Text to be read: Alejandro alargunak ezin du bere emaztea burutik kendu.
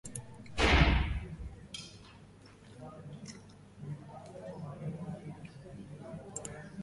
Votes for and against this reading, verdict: 0, 3, rejected